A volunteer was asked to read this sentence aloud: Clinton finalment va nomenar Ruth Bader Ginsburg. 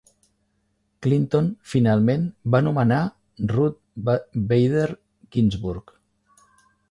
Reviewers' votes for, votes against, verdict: 1, 3, rejected